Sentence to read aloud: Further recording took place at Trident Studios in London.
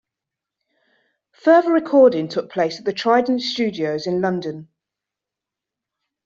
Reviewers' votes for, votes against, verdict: 0, 2, rejected